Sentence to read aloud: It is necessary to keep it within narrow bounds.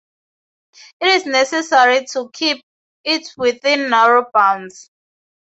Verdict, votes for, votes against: rejected, 0, 2